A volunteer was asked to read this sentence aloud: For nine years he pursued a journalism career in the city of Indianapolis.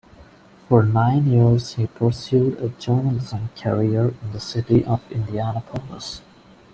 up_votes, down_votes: 2, 0